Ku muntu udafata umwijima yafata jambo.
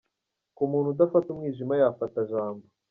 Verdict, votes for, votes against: rejected, 1, 2